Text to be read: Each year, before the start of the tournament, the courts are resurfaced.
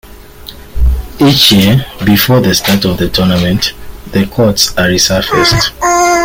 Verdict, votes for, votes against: accepted, 2, 1